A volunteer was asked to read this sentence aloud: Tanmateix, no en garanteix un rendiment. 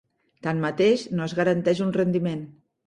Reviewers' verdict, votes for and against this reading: rejected, 0, 4